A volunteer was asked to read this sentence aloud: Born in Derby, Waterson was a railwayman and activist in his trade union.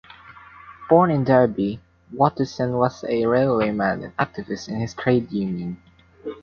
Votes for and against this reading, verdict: 0, 2, rejected